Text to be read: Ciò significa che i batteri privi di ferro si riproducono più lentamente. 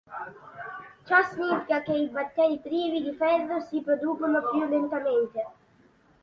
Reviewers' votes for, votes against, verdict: 2, 1, accepted